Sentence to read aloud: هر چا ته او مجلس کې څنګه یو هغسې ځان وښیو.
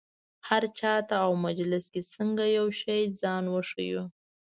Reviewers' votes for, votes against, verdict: 1, 2, rejected